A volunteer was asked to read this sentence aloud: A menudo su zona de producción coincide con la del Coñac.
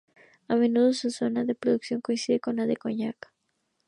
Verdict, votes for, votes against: accepted, 2, 0